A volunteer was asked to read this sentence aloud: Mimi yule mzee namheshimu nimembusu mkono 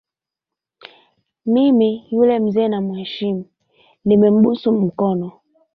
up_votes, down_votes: 2, 1